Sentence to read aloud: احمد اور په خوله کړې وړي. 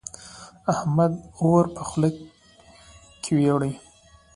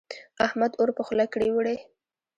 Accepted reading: first